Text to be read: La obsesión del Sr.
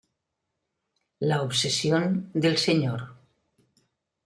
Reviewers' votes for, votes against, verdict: 2, 0, accepted